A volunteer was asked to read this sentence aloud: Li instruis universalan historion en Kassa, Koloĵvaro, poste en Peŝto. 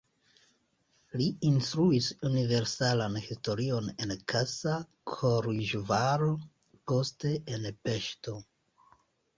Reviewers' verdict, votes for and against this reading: rejected, 1, 2